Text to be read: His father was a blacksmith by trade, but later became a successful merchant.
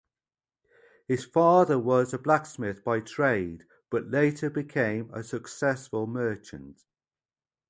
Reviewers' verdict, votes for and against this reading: accepted, 2, 0